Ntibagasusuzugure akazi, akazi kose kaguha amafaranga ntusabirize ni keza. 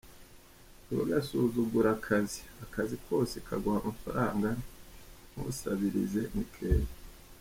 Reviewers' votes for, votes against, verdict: 0, 2, rejected